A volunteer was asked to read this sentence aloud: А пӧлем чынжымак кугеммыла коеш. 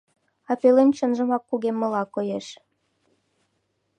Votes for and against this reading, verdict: 2, 0, accepted